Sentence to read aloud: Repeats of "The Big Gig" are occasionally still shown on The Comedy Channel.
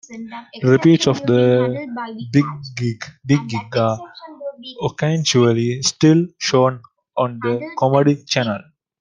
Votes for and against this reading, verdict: 0, 2, rejected